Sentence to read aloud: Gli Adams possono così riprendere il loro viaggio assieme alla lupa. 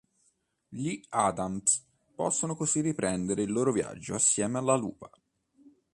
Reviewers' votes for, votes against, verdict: 2, 0, accepted